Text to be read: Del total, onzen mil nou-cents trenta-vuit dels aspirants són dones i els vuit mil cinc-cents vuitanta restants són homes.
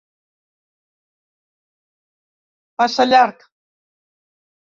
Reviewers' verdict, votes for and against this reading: rejected, 0, 4